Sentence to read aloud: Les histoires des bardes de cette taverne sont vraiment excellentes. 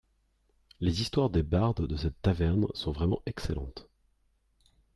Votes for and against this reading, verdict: 3, 0, accepted